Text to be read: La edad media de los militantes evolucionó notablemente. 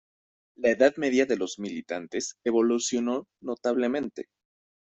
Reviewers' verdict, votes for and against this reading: accepted, 2, 0